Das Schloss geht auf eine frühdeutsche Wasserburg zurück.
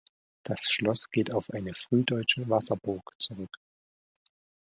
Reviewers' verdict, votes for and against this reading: accepted, 2, 1